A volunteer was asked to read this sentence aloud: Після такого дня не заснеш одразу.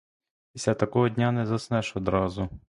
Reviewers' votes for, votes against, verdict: 2, 0, accepted